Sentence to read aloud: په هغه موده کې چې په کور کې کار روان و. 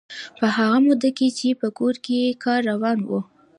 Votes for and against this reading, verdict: 2, 1, accepted